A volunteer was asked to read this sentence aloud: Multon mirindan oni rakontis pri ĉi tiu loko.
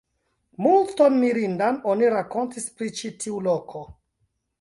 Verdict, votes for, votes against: rejected, 1, 2